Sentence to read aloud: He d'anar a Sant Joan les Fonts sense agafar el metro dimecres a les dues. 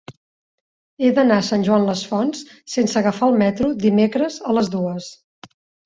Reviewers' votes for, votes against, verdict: 3, 0, accepted